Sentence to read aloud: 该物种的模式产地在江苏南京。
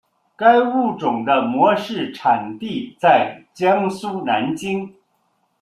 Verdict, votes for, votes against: accepted, 2, 0